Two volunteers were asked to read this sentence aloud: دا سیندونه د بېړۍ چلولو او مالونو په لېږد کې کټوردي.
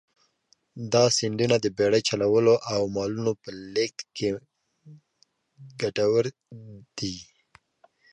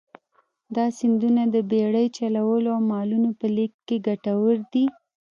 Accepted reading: second